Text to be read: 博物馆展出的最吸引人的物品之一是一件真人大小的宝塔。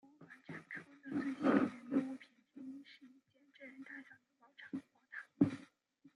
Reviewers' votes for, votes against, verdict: 0, 2, rejected